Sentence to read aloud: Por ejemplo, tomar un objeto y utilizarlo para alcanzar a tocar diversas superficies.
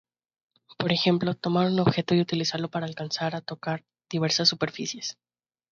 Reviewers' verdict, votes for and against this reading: accepted, 2, 0